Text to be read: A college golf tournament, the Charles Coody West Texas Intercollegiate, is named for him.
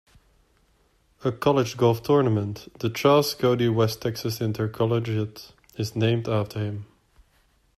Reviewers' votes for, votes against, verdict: 1, 2, rejected